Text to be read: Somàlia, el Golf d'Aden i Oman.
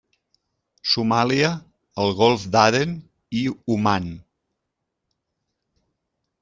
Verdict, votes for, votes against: accepted, 3, 0